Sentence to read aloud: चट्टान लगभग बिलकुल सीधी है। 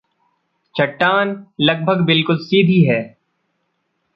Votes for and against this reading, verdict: 2, 0, accepted